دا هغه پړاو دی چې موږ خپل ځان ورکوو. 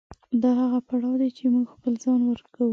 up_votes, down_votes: 7, 0